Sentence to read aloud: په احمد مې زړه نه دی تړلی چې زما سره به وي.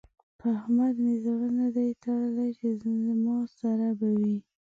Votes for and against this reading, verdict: 0, 2, rejected